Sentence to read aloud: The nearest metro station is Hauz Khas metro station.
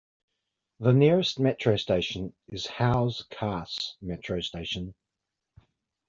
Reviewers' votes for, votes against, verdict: 2, 1, accepted